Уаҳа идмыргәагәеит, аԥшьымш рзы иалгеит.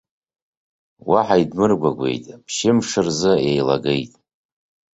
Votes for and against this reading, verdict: 1, 2, rejected